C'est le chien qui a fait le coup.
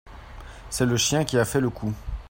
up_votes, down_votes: 2, 0